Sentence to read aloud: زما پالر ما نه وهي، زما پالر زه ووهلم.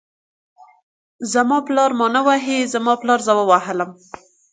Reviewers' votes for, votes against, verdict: 2, 0, accepted